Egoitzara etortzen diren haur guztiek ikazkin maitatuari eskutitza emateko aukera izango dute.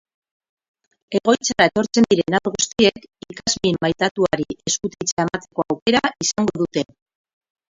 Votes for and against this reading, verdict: 0, 2, rejected